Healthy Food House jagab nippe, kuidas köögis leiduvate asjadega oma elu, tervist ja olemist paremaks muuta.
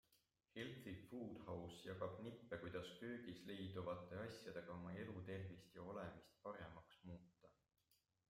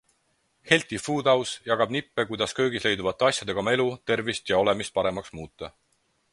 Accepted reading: second